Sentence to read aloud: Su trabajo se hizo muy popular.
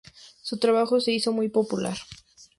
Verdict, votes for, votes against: accepted, 2, 0